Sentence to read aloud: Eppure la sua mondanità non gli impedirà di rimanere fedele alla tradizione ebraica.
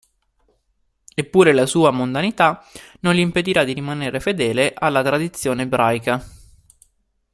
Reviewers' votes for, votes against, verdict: 2, 0, accepted